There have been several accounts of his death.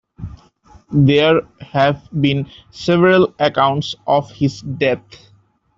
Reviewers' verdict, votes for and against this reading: rejected, 0, 2